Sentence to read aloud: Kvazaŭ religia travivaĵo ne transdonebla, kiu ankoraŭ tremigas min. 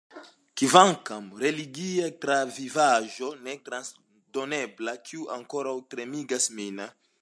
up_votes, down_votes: 0, 2